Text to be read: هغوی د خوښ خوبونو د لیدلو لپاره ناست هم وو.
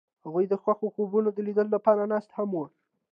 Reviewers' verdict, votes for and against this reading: accepted, 2, 0